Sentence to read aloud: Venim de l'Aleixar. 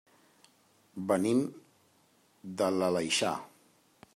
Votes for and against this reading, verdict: 3, 0, accepted